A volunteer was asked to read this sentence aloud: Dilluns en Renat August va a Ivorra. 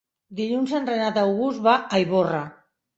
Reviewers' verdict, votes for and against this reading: accepted, 4, 0